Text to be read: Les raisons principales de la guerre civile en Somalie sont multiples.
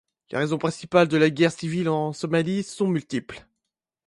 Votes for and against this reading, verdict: 2, 0, accepted